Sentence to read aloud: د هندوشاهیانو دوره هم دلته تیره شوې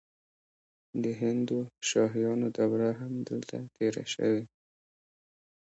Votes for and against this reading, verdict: 2, 0, accepted